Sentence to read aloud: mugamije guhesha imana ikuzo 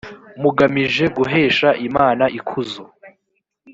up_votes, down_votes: 3, 0